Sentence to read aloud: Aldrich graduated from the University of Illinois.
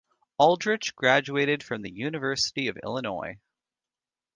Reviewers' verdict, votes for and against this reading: rejected, 1, 2